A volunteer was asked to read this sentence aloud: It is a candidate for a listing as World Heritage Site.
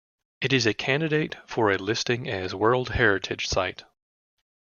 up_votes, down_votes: 2, 0